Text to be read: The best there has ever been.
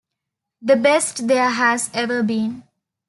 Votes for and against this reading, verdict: 2, 0, accepted